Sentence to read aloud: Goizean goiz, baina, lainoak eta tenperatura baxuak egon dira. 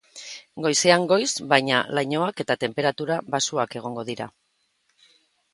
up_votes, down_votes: 2, 0